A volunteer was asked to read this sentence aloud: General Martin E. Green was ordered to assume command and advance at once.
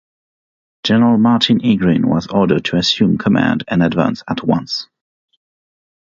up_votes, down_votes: 3, 0